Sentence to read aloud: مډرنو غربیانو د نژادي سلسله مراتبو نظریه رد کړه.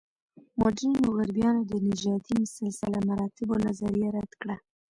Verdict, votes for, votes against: accepted, 2, 0